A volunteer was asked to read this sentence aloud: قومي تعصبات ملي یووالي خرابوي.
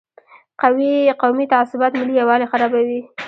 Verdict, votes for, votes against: rejected, 1, 2